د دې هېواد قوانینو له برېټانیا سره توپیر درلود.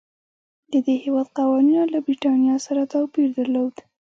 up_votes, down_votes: 2, 1